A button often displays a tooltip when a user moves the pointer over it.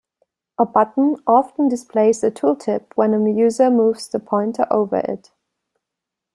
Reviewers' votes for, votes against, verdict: 2, 0, accepted